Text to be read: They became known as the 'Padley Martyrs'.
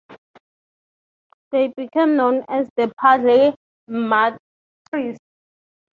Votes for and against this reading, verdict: 0, 3, rejected